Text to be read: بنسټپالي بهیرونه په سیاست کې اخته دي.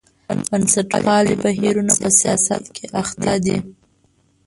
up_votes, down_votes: 0, 2